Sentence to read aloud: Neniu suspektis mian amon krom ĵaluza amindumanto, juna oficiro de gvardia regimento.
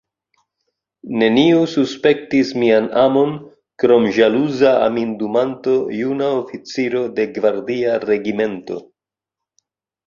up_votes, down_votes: 2, 1